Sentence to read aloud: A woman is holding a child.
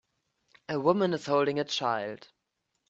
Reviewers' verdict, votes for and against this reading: accepted, 2, 0